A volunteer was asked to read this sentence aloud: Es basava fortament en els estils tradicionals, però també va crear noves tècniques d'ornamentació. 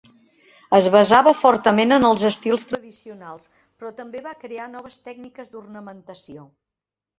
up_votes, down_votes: 2, 1